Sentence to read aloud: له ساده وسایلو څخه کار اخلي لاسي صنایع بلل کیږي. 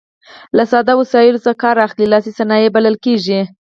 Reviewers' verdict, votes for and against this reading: accepted, 4, 0